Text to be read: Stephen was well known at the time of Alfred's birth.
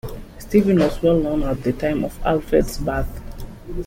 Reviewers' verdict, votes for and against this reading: accepted, 2, 0